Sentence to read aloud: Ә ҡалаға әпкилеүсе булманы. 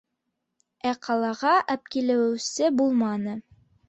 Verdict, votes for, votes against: accepted, 3, 0